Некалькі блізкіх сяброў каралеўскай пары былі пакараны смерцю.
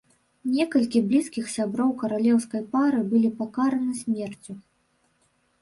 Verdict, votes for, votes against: rejected, 0, 2